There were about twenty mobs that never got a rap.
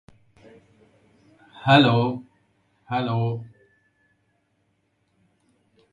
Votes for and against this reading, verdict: 0, 2, rejected